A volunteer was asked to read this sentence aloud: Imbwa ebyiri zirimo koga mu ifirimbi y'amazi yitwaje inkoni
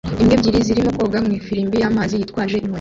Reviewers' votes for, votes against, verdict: 0, 2, rejected